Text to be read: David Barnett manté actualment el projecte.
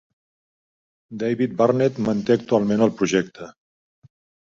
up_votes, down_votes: 3, 0